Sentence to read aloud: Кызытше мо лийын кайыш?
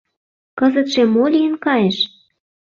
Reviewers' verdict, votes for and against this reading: accepted, 2, 0